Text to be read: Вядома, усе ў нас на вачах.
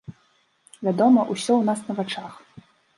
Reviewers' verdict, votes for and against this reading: rejected, 2, 3